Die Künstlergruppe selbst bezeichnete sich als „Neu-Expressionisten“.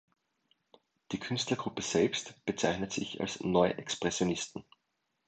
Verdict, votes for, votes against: accepted, 2, 1